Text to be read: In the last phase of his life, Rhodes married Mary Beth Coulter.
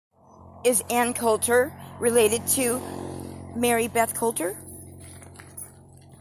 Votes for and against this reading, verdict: 0, 2, rejected